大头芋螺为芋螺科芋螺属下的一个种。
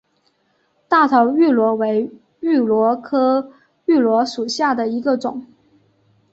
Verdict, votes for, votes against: accepted, 2, 0